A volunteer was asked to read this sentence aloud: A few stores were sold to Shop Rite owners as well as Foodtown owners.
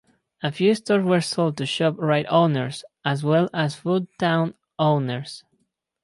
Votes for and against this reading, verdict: 4, 0, accepted